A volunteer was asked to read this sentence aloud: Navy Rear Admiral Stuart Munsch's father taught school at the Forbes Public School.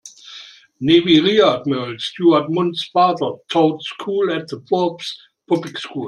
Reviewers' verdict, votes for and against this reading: rejected, 0, 2